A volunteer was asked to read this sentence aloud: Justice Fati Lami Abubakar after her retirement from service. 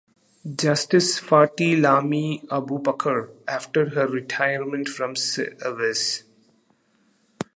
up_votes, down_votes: 0, 2